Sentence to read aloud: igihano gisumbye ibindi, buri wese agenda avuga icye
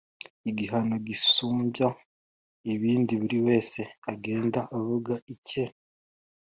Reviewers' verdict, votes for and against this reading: accepted, 2, 0